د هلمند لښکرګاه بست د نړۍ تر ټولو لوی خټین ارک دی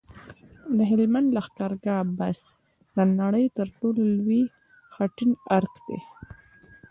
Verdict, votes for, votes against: accepted, 2, 0